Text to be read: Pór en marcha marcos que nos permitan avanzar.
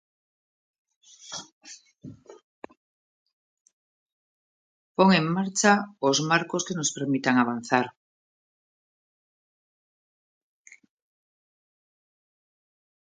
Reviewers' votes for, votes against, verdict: 0, 2, rejected